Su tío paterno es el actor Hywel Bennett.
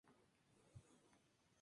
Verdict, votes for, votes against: rejected, 0, 2